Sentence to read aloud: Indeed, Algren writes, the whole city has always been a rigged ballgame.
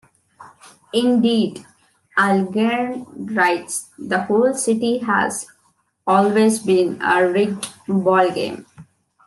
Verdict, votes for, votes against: rejected, 0, 2